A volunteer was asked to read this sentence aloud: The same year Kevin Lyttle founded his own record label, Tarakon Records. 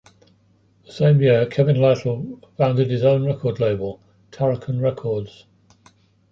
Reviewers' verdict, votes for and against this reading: rejected, 1, 2